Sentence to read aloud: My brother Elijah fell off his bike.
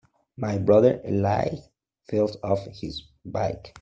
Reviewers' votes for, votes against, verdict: 0, 2, rejected